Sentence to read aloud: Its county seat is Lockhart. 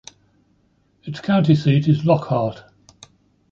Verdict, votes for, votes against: accepted, 2, 1